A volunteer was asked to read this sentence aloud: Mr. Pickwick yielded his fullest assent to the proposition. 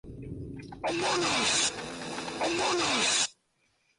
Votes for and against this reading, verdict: 0, 2, rejected